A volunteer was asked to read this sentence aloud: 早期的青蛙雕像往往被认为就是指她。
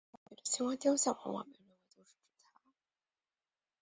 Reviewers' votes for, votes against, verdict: 1, 2, rejected